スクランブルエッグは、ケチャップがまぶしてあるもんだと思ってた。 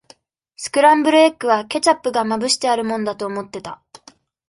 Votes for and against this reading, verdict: 2, 0, accepted